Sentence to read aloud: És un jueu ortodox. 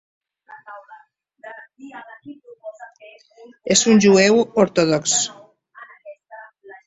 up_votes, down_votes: 0, 2